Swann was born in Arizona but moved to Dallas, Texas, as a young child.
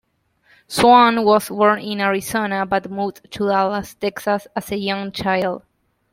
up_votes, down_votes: 2, 0